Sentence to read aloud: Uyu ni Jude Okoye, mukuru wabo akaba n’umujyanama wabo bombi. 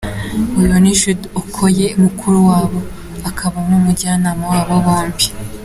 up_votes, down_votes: 2, 0